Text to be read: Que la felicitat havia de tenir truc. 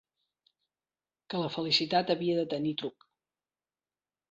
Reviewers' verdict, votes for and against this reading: accepted, 3, 0